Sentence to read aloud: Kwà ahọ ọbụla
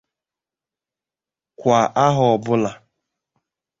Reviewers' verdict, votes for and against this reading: accepted, 2, 1